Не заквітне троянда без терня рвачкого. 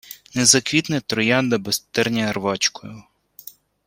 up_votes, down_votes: 0, 2